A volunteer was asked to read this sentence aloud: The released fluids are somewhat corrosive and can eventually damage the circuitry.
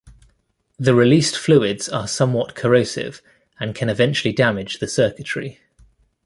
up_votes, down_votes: 3, 0